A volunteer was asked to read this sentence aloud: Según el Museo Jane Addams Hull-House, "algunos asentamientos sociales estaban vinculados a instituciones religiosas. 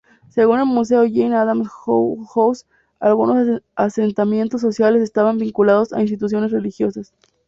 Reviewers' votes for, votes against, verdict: 2, 0, accepted